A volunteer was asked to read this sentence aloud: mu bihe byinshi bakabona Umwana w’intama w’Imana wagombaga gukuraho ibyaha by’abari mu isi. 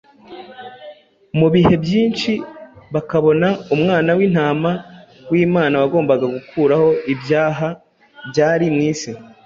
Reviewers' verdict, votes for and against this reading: rejected, 0, 2